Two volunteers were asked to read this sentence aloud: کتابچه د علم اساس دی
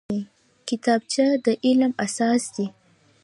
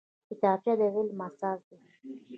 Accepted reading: second